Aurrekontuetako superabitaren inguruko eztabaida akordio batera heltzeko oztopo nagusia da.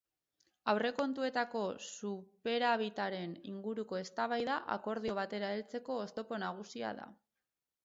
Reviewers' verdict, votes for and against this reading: rejected, 2, 4